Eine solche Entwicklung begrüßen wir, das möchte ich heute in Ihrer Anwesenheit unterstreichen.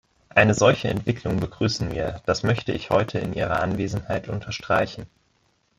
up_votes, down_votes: 1, 2